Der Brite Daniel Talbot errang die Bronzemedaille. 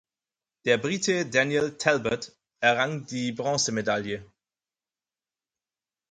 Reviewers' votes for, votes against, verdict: 4, 0, accepted